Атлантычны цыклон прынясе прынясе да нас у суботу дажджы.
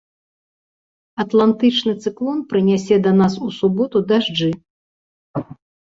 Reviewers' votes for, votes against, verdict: 0, 2, rejected